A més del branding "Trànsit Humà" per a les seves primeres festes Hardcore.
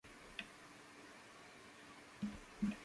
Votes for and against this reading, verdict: 0, 2, rejected